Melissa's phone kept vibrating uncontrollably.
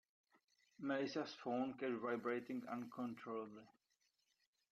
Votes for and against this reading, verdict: 0, 2, rejected